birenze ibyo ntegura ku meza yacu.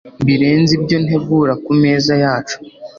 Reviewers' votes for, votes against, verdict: 2, 0, accepted